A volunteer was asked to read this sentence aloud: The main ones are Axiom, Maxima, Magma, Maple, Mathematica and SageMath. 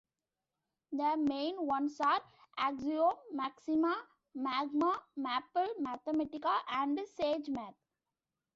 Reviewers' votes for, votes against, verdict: 0, 2, rejected